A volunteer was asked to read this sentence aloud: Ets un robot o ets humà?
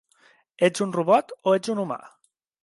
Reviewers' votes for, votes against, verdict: 2, 3, rejected